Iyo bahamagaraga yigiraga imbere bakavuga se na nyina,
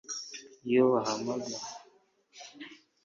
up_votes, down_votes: 1, 2